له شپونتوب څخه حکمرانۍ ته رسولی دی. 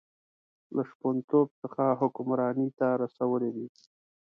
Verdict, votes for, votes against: accepted, 2, 0